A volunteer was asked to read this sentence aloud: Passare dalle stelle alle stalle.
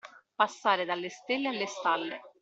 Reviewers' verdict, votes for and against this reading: accepted, 2, 0